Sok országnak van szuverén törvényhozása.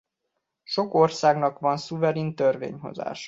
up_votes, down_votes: 0, 2